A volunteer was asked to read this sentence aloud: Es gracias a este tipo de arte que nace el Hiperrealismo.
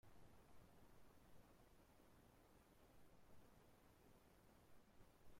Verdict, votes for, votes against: rejected, 0, 2